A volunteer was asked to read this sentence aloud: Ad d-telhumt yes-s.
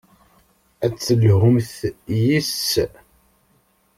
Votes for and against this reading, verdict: 1, 2, rejected